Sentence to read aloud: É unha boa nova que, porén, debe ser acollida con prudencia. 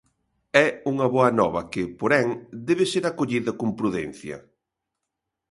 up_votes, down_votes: 2, 0